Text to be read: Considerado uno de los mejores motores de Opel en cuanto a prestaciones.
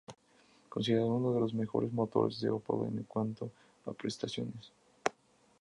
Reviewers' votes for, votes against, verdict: 4, 0, accepted